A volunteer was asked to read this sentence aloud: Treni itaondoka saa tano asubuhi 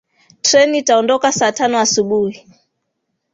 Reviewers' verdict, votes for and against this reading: accepted, 2, 1